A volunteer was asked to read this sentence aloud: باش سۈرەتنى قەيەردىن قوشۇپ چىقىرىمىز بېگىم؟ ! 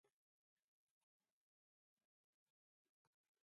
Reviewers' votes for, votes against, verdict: 0, 2, rejected